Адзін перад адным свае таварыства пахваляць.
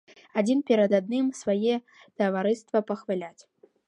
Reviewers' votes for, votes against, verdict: 2, 0, accepted